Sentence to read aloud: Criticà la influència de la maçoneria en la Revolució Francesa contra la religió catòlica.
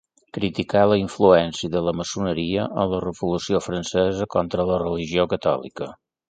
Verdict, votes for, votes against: accepted, 2, 0